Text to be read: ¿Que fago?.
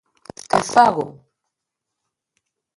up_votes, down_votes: 1, 2